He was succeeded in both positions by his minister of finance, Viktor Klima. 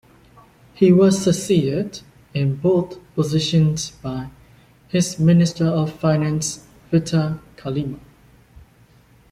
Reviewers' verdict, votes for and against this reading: rejected, 1, 2